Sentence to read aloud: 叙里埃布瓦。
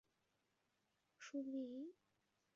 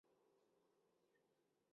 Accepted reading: first